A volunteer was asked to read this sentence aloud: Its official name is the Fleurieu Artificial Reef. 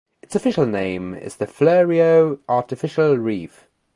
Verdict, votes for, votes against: accepted, 2, 0